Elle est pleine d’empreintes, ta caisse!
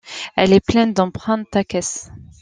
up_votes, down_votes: 2, 0